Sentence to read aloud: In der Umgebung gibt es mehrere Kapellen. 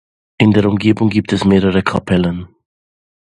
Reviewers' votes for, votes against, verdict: 2, 0, accepted